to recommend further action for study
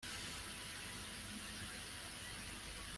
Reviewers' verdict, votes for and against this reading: rejected, 0, 2